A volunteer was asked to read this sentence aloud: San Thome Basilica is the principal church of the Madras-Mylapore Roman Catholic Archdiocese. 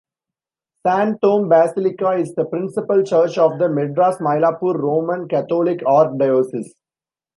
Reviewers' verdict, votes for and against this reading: rejected, 1, 2